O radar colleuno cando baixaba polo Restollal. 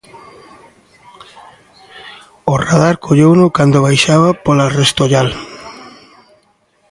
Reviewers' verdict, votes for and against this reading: rejected, 0, 2